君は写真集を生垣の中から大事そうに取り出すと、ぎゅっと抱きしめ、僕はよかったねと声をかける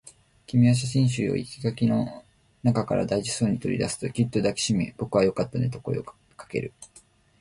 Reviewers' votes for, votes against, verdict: 3, 0, accepted